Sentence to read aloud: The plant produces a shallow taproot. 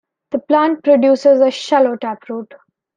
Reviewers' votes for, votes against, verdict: 2, 0, accepted